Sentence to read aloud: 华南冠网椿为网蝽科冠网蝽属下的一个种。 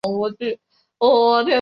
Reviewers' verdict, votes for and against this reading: rejected, 0, 3